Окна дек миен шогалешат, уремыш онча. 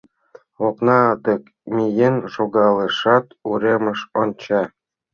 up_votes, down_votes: 2, 0